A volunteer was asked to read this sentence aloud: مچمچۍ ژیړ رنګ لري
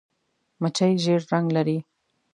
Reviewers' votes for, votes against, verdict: 1, 2, rejected